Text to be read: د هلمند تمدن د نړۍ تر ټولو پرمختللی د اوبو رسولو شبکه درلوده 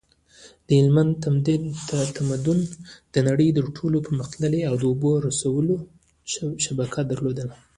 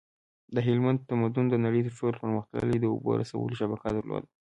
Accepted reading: second